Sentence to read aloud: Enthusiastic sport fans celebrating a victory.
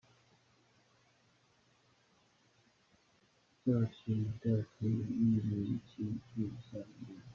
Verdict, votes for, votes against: rejected, 0, 2